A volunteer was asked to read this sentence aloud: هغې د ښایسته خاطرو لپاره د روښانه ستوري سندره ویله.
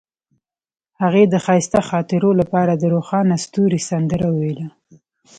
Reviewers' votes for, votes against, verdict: 2, 0, accepted